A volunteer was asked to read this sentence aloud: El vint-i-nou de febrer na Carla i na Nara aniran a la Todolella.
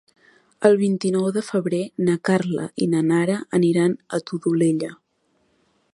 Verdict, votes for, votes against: rejected, 0, 2